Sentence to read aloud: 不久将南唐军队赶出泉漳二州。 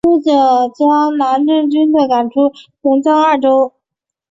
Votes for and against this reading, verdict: 2, 0, accepted